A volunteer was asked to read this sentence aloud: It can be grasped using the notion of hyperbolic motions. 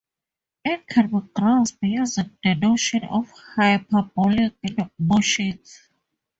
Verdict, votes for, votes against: accepted, 2, 0